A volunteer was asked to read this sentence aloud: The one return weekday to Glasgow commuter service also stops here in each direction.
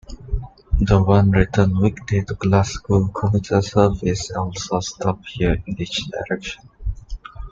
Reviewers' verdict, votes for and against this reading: rejected, 1, 2